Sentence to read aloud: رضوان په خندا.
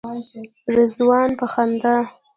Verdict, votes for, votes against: rejected, 0, 2